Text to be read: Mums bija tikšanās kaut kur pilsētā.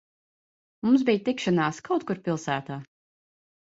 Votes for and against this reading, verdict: 2, 0, accepted